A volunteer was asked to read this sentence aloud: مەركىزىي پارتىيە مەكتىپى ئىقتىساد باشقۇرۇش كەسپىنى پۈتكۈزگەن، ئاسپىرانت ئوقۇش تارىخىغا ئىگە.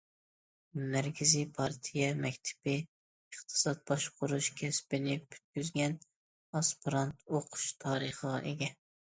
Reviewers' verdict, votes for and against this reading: accepted, 2, 0